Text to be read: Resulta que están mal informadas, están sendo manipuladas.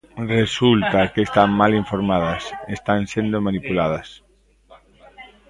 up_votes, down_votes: 2, 0